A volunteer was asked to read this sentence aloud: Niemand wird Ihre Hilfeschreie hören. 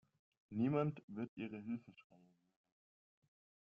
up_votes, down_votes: 0, 2